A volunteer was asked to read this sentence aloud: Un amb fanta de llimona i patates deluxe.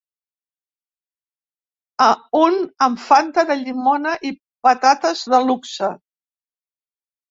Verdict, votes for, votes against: rejected, 1, 2